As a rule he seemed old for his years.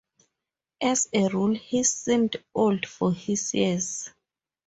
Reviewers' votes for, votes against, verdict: 0, 2, rejected